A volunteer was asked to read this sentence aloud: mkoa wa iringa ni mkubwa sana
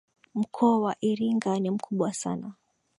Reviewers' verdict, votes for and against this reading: accepted, 2, 0